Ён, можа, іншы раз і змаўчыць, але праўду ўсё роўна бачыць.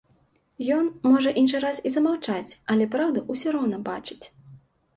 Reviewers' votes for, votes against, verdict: 0, 2, rejected